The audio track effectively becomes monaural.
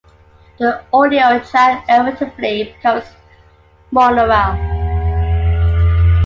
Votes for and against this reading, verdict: 2, 1, accepted